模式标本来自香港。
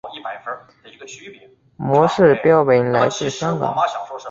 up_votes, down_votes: 0, 2